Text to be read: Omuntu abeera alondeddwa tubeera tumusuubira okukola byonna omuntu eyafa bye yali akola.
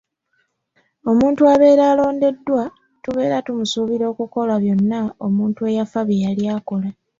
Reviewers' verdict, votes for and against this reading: accepted, 2, 0